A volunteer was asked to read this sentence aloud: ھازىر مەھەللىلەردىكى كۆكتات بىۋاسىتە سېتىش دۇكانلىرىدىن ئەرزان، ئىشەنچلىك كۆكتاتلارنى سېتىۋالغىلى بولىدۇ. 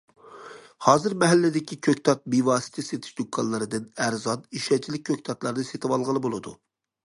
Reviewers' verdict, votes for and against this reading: rejected, 0, 2